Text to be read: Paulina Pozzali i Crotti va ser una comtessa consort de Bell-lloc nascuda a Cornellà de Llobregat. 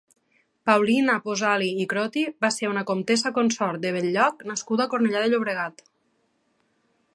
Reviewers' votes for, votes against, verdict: 2, 0, accepted